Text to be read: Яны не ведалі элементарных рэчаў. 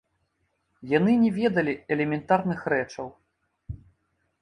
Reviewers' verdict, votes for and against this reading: rejected, 0, 2